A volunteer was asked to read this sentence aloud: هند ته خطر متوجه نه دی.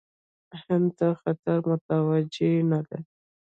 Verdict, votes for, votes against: accepted, 2, 1